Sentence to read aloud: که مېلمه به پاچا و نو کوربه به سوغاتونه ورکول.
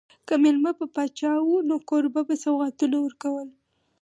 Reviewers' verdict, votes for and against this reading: accepted, 4, 0